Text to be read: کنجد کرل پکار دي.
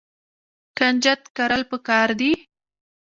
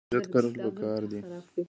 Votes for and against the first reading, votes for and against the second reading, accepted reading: 2, 0, 1, 2, first